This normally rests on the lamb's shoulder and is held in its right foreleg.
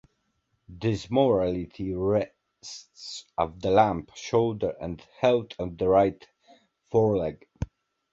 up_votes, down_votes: 0, 2